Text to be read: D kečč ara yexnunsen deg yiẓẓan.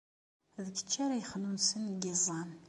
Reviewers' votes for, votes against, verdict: 2, 0, accepted